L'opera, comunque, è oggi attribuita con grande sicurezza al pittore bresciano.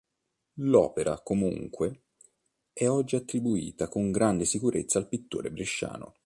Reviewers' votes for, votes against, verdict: 2, 0, accepted